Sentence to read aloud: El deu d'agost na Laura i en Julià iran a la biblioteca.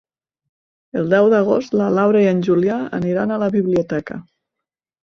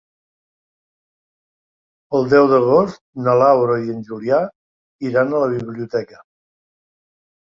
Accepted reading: second